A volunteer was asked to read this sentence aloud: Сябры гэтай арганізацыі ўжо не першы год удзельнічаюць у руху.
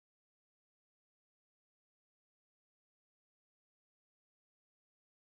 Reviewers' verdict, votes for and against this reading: rejected, 0, 2